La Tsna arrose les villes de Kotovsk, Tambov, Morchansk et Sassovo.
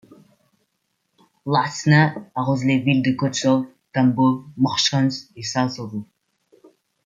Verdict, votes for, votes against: accepted, 2, 0